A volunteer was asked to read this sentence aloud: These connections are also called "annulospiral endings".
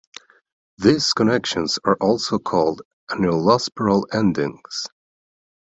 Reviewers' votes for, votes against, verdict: 1, 2, rejected